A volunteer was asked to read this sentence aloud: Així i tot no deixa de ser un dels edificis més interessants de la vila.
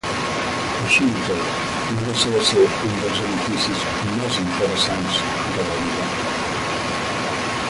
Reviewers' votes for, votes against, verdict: 0, 5, rejected